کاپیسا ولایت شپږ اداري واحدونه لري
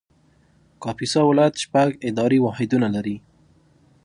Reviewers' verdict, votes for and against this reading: accepted, 2, 0